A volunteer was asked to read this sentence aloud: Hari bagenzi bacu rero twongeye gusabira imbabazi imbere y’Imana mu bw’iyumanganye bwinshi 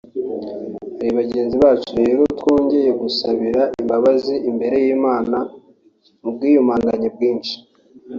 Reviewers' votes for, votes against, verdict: 0, 2, rejected